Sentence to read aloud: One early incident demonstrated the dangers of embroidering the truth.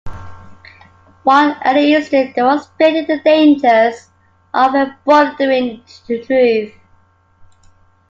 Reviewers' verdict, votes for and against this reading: rejected, 0, 2